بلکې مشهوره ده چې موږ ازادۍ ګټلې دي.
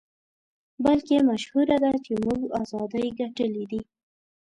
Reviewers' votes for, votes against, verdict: 2, 0, accepted